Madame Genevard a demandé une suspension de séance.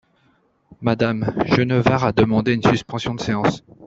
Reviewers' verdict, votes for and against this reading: rejected, 0, 2